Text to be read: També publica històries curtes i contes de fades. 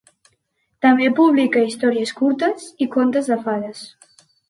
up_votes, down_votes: 2, 0